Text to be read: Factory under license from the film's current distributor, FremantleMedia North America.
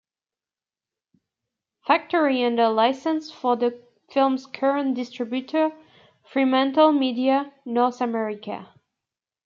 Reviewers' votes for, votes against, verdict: 1, 2, rejected